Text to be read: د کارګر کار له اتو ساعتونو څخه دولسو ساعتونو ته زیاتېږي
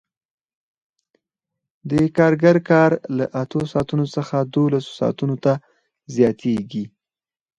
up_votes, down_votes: 4, 0